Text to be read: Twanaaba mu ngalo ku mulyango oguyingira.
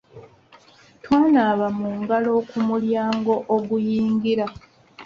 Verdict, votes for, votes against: accepted, 2, 0